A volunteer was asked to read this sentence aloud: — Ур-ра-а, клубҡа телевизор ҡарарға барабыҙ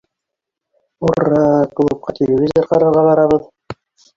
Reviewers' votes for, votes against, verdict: 0, 3, rejected